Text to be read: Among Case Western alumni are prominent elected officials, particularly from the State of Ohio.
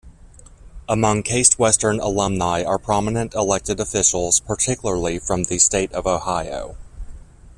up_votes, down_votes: 2, 0